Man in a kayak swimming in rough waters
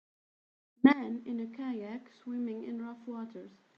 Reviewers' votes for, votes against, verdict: 2, 1, accepted